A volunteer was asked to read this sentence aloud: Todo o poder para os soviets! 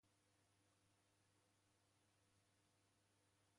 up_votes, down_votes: 0, 2